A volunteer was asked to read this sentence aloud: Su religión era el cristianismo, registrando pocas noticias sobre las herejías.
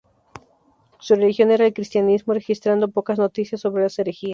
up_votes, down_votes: 2, 2